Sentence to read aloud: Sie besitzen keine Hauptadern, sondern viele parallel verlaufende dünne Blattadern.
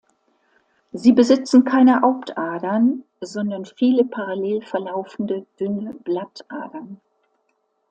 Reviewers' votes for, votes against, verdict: 2, 1, accepted